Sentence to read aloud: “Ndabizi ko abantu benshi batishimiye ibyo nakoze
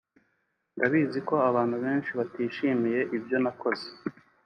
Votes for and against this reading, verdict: 4, 0, accepted